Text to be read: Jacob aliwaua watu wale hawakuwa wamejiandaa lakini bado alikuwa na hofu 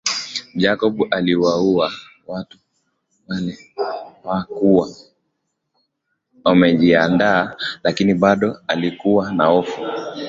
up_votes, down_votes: 0, 2